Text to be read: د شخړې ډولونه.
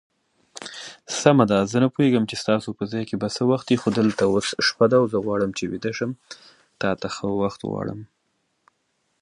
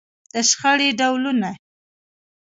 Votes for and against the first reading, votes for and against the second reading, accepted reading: 0, 2, 2, 0, second